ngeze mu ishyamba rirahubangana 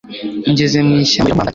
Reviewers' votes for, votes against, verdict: 1, 2, rejected